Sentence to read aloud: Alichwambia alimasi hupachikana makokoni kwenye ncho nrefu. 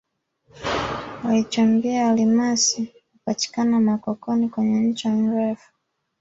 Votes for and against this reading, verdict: 0, 2, rejected